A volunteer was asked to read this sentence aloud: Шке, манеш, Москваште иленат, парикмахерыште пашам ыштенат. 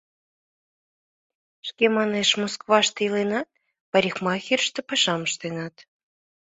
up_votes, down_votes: 2, 0